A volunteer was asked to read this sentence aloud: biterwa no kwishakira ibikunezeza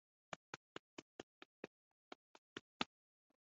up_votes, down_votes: 1, 2